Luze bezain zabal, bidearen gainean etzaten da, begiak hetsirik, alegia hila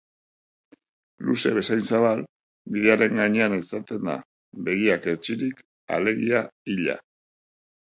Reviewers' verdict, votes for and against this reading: accepted, 2, 0